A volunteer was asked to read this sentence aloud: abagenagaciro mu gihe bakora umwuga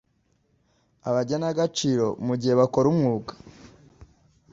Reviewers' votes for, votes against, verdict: 2, 0, accepted